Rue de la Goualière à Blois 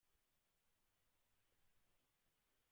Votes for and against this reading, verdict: 0, 2, rejected